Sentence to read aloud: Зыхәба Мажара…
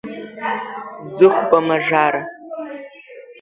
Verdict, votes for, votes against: accepted, 4, 2